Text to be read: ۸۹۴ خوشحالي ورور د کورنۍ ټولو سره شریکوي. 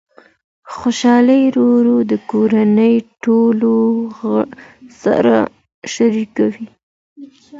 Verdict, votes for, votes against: rejected, 0, 2